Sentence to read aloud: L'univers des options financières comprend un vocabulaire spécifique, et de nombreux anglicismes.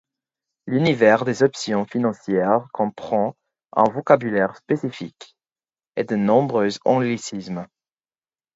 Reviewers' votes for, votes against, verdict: 4, 0, accepted